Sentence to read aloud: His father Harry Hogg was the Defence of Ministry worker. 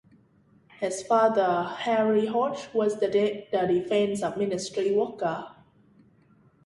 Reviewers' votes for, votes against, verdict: 0, 2, rejected